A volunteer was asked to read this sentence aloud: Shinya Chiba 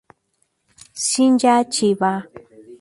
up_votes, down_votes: 2, 0